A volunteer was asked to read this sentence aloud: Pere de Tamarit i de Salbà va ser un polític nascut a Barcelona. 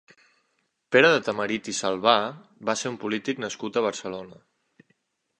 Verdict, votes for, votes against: rejected, 0, 2